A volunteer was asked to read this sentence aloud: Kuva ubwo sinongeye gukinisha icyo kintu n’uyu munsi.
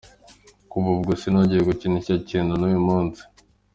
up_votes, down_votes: 2, 1